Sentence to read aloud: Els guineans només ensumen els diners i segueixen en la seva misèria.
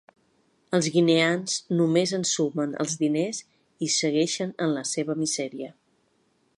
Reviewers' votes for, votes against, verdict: 3, 0, accepted